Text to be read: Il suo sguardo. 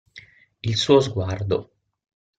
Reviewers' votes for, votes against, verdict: 6, 0, accepted